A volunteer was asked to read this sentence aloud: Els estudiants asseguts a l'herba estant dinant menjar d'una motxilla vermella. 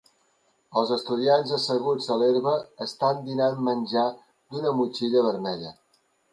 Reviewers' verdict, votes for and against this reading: accepted, 2, 0